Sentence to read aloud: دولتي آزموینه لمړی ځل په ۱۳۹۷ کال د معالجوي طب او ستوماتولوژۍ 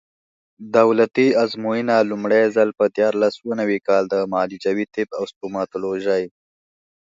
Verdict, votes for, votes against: rejected, 0, 2